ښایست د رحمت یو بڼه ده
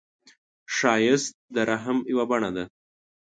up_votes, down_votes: 1, 3